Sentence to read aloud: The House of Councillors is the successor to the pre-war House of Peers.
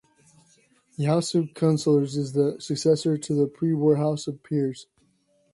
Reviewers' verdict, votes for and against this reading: accepted, 2, 0